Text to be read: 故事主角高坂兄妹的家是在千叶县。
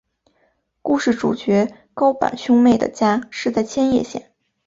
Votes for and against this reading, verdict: 2, 0, accepted